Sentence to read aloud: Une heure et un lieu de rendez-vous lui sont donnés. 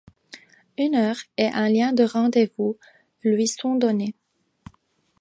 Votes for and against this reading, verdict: 1, 2, rejected